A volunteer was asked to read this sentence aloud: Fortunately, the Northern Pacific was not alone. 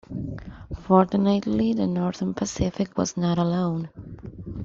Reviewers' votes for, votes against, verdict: 2, 0, accepted